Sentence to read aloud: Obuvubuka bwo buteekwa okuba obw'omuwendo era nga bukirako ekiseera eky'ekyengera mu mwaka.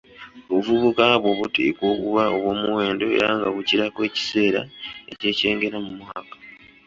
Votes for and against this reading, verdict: 1, 2, rejected